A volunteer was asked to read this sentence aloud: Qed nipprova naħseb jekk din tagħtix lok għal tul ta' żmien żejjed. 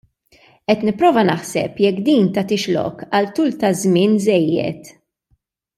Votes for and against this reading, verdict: 2, 0, accepted